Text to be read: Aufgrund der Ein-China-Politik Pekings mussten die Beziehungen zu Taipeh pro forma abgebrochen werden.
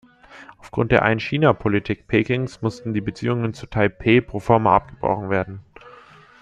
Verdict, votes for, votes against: accepted, 2, 0